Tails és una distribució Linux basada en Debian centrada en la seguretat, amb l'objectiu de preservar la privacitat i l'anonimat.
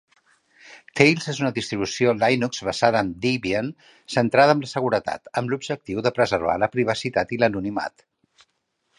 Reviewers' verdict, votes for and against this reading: rejected, 2, 3